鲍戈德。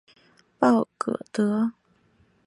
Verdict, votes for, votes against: accepted, 3, 0